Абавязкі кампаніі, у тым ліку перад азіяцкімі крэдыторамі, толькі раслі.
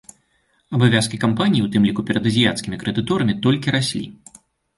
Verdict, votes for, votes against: accepted, 2, 0